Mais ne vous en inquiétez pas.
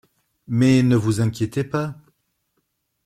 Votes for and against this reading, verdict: 1, 2, rejected